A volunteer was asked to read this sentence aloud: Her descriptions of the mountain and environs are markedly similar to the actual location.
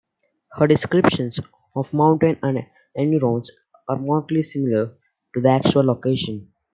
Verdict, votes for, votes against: accepted, 2, 1